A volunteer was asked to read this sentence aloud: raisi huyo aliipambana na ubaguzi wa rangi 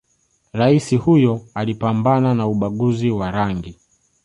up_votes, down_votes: 2, 0